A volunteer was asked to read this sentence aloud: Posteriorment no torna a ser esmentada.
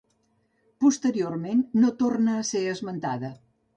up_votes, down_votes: 3, 0